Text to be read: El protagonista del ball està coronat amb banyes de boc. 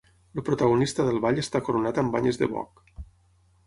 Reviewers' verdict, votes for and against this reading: rejected, 0, 6